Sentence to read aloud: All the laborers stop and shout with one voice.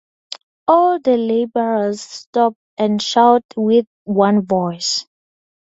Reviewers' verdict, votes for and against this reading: accepted, 2, 0